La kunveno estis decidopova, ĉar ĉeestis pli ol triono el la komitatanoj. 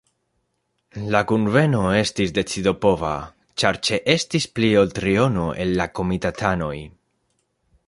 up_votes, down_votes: 3, 0